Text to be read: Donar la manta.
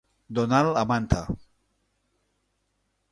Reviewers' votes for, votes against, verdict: 2, 0, accepted